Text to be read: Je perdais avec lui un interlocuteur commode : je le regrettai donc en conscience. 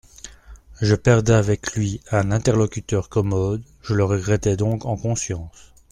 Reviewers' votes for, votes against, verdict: 2, 0, accepted